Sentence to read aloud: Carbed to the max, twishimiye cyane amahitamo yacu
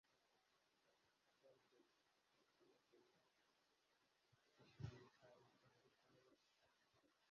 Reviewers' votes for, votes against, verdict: 1, 2, rejected